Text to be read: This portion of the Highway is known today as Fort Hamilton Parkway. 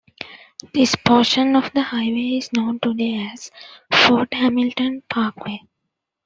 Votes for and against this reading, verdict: 2, 0, accepted